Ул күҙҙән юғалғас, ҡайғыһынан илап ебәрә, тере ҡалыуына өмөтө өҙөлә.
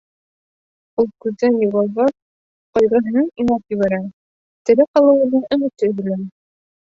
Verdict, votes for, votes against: rejected, 1, 2